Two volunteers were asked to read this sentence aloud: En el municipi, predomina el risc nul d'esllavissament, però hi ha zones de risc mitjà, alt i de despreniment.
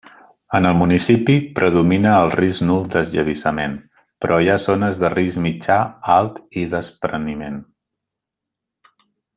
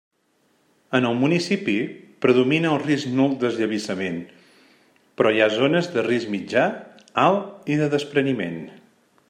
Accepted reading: second